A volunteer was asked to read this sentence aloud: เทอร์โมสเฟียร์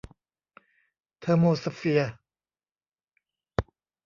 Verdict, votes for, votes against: rejected, 1, 2